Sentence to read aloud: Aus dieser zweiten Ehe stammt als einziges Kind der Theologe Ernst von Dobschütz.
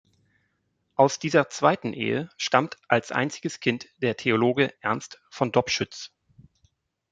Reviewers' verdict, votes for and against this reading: accepted, 2, 0